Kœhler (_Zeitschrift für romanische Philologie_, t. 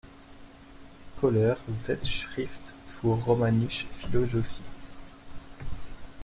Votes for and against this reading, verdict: 2, 1, accepted